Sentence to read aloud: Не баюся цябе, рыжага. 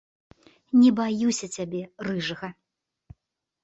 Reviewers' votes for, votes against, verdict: 2, 0, accepted